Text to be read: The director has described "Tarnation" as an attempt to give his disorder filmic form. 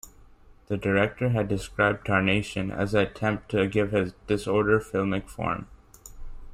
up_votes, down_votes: 1, 2